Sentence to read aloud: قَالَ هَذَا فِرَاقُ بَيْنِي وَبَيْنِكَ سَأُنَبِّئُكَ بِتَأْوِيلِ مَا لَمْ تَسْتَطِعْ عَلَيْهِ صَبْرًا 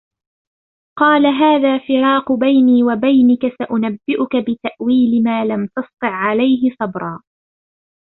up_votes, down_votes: 2, 0